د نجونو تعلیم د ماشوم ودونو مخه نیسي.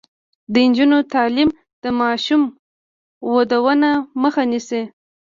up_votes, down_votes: 0, 2